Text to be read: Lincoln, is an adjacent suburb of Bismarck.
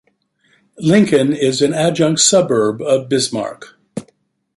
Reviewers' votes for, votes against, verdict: 1, 2, rejected